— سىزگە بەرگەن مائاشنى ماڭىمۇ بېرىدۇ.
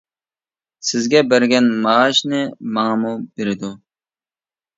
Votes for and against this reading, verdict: 2, 0, accepted